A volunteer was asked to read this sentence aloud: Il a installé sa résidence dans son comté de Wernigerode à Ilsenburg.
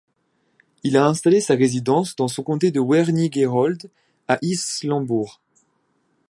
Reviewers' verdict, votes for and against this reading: accepted, 2, 0